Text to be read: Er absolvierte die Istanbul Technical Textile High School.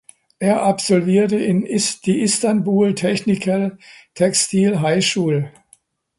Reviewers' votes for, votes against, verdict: 0, 2, rejected